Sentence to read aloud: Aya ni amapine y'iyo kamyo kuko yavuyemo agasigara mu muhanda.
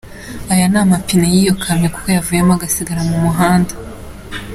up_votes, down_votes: 2, 0